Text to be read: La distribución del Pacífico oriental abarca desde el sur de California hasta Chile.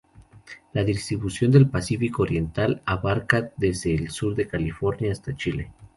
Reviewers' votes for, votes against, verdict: 2, 0, accepted